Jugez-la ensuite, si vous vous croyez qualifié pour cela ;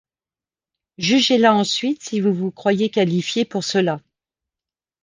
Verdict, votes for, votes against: accepted, 2, 0